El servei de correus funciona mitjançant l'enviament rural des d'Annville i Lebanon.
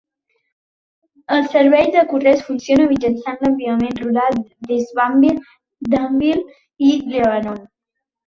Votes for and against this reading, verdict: 0, 2, rejected